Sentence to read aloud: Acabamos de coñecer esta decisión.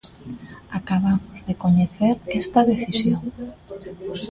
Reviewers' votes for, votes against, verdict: 0, 2, rejected